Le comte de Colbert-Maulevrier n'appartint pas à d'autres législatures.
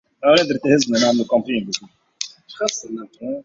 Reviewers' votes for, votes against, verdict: 0, 2, rejected